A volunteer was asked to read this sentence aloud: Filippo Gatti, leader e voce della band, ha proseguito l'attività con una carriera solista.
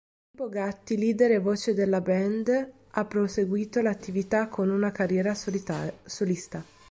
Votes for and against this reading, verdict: 1, 3, rejected